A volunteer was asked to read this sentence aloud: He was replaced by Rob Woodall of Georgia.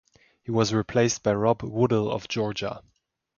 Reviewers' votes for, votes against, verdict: 2, 0, accepted